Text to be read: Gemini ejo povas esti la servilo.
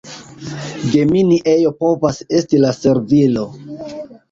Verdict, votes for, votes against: accepted, 2, 0